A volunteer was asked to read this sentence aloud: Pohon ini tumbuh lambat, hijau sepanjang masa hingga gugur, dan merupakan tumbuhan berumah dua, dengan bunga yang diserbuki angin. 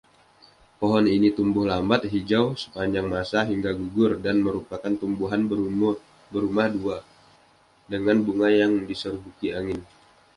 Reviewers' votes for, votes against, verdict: 1, 2, rejected